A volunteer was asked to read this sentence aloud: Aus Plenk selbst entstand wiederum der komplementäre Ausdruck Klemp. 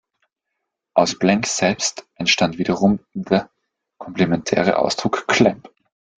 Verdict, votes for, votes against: rejected, 1, 2